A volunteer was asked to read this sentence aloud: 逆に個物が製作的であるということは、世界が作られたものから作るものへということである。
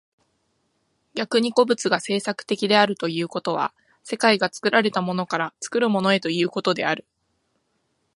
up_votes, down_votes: 2, 0